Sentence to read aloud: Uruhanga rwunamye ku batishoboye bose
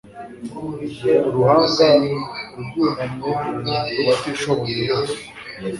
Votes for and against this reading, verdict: 2, 0, accepted